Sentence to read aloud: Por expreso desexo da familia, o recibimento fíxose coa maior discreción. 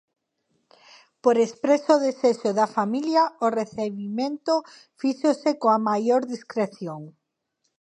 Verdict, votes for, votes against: rejected, 0, 3